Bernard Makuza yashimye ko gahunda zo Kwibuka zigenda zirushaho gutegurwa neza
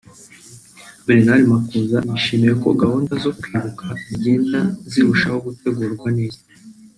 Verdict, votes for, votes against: rejected, 0, 2